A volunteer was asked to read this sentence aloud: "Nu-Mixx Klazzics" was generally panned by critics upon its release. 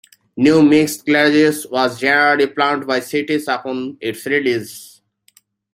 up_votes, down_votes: 0, 2